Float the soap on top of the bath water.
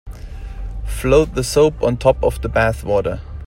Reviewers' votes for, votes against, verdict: 2, 0, accepted